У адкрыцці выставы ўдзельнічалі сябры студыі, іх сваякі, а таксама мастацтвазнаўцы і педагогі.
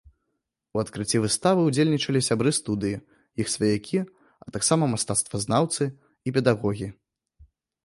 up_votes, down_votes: 2, 0